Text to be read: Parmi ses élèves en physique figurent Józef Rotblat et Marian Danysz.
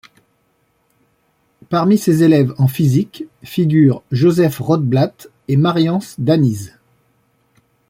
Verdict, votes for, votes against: rejected, 0, 2